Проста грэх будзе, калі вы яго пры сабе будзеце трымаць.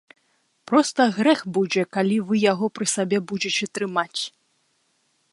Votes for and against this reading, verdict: 2, 1, accepted